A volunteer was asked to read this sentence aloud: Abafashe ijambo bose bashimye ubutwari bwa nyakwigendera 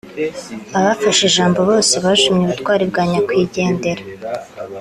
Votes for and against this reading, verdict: 2, 0, accepted